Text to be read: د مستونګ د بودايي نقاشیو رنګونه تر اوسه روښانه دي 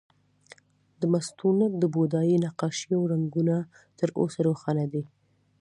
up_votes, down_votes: 0, 2